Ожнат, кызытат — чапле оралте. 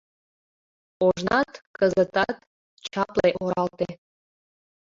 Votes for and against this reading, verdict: 2, 1, accepted